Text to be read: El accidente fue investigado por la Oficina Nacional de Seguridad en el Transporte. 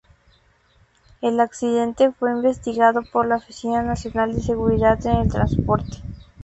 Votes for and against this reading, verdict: 2, 0, accepted